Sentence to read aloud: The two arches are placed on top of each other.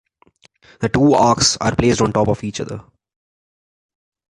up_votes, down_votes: 2, 1